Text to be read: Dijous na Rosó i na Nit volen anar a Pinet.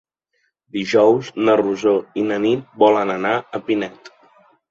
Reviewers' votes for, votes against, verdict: 3, 0, accepted